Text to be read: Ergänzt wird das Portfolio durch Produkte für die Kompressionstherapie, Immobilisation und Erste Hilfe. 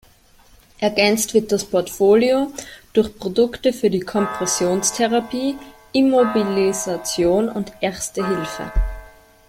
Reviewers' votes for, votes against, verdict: 1, 2, rejected